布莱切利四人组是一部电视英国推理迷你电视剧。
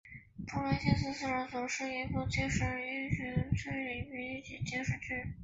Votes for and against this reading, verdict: 1, 2, rejected